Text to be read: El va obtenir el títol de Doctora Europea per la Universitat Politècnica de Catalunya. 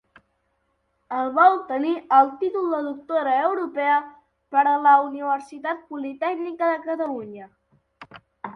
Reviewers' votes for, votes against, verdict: 1, 3, rejected